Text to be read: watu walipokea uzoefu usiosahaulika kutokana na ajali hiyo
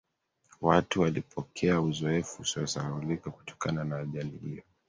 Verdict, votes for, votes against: accepted, 2, 1